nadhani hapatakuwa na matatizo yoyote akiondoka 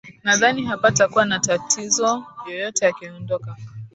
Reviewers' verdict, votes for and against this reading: rejected, 0, 2